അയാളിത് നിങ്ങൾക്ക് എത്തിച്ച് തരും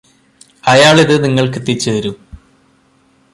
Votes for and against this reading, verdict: 2, 0, accepted